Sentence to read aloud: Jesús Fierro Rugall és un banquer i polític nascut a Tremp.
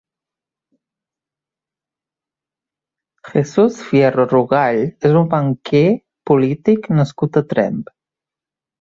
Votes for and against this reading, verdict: 1, 2, rejected